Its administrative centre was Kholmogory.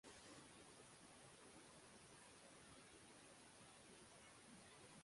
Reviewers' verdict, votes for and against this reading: rejected, 0, 6